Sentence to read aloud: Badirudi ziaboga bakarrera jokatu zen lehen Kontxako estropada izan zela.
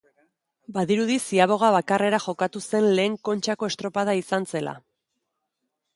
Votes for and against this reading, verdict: 2, 1, accepted